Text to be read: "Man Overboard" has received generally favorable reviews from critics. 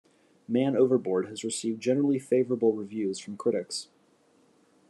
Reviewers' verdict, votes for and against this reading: accepted, 2, 0